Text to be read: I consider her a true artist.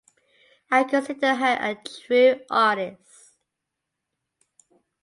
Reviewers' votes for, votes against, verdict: 2, 0, accepted